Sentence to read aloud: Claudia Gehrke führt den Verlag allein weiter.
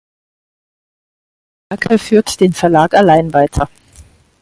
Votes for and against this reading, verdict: 0, 4, rejected